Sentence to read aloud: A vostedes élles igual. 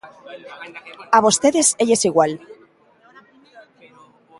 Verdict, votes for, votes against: accepted, 2, 0